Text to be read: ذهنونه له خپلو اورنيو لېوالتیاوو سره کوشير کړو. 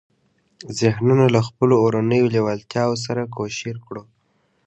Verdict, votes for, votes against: accepted, 2, 0